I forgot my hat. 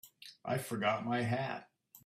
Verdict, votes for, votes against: accepted, 3, 0